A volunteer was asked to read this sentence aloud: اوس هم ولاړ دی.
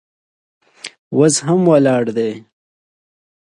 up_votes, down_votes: 2, 0